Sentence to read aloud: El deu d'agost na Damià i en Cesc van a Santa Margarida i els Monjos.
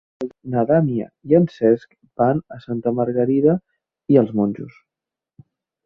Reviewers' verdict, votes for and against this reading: rejected, 1, 2